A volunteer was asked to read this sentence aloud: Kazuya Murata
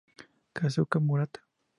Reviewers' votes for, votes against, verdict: 0, 2, rejected